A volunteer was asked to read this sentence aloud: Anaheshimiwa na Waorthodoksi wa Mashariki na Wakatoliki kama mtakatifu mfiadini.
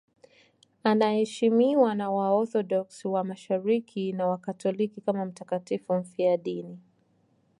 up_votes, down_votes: 4, 0